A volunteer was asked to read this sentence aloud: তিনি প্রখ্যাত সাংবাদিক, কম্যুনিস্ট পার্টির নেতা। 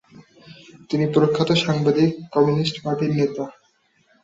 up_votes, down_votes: 2, 0